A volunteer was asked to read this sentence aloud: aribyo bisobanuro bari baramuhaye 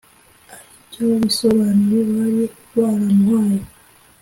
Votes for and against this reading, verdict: 2, 0, accepted